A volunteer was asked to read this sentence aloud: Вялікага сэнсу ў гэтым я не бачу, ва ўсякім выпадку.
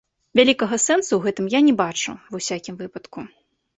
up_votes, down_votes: 2, 0